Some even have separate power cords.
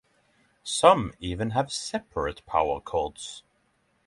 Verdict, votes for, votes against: accepted, 3, 0